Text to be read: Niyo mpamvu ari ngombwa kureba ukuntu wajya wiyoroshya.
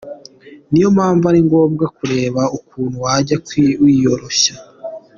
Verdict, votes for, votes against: rejected, 0, 2